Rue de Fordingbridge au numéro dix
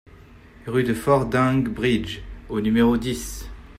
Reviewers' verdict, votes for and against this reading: accepted, 2, 0